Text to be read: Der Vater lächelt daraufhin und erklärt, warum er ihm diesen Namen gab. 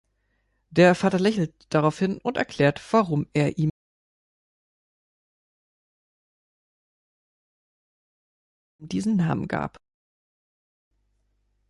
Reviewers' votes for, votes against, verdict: 3, 4, rejected